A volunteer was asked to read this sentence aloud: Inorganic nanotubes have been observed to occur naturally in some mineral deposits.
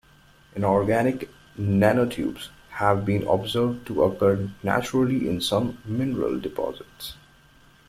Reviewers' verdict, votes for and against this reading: accepted, 2, 1